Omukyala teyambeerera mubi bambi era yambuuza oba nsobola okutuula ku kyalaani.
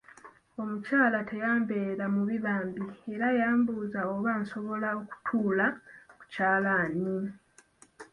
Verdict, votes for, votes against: rejected, 0, 2